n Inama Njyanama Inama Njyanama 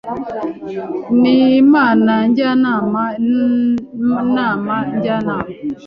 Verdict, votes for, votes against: rejected, 0, 2